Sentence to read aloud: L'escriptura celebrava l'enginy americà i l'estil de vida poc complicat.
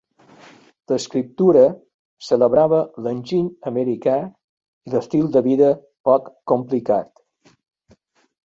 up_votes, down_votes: 3, 0